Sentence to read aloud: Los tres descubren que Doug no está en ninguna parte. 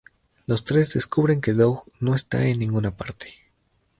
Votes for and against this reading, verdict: 2, 0, accepted